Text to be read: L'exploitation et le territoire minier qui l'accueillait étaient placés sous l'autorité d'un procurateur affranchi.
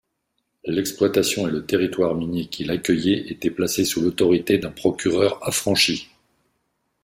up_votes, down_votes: 0, 2